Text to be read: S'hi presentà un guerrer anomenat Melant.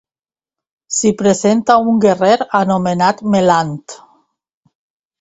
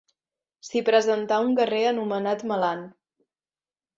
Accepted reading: second